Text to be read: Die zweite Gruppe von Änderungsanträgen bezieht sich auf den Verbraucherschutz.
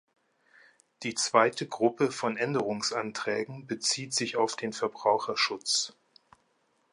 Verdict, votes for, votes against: accepted, 2, 0